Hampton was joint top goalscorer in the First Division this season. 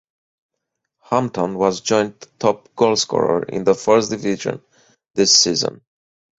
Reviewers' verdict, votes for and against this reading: accepted, 4, 2